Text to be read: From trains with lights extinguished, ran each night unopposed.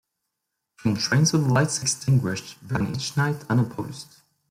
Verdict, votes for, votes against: accepted, 2, 1